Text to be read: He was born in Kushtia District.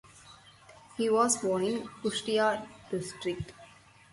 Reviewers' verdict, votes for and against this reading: rejected, 0, 4